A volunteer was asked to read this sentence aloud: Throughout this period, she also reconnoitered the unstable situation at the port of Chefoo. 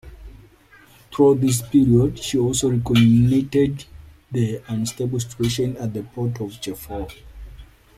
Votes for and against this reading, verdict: 0, 2, rejected